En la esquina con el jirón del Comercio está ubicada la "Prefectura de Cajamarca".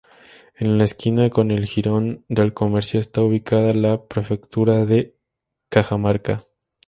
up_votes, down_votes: 4, 0